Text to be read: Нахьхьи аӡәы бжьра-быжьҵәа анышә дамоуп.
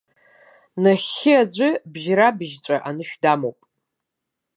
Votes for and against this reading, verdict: 2, 0, accepted